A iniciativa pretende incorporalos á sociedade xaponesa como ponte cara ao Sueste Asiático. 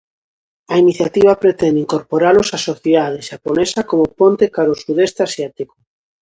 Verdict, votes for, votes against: rejected, 0, 2